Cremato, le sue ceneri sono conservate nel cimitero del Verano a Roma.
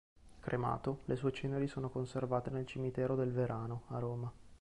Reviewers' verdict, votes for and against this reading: accepted, 2, 0